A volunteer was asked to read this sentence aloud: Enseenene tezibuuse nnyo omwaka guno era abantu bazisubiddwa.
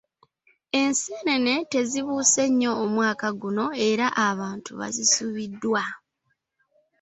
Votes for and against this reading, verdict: 2, 0, accepted